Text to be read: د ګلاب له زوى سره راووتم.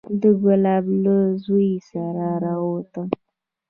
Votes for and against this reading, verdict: 0, 2, rejected